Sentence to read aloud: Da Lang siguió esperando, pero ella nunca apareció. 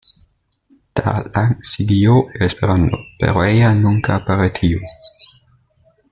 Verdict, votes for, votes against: accepted, 2, 0